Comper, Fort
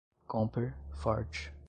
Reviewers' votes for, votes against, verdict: 0, 2, rejected